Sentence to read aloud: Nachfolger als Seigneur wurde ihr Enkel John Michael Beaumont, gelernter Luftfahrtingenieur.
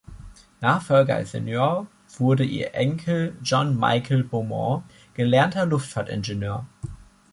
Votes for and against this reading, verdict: 2, 0, accepted